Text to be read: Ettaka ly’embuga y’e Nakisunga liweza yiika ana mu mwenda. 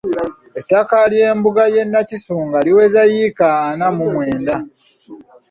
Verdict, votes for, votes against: accepted, 2, 0